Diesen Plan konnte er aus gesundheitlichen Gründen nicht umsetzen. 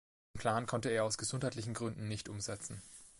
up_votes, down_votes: 0, 2